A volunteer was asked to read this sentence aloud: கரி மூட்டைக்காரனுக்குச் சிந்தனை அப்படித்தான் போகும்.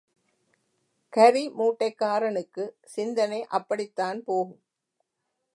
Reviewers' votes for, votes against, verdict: 2, 0, accepted